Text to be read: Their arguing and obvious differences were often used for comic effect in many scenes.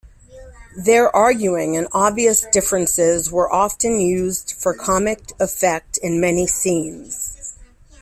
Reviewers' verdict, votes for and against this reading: rejected, 1, 2